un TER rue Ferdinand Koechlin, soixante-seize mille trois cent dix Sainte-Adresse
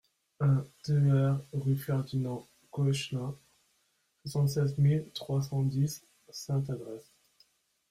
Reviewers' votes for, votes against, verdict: 2, 0, accepted